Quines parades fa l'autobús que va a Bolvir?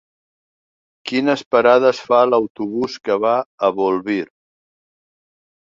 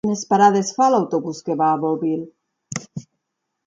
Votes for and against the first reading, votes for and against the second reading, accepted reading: 4, 1, 2, 4, first